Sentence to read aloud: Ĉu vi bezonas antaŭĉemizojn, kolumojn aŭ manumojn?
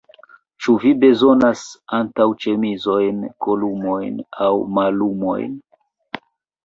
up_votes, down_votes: 1, 2